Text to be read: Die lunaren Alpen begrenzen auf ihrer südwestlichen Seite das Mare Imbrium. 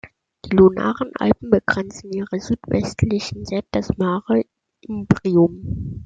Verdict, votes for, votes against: rejected, 0, 2